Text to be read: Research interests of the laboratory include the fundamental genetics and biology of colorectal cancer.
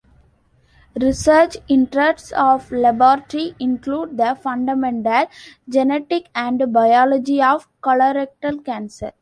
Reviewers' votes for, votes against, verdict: 1, 2, rejected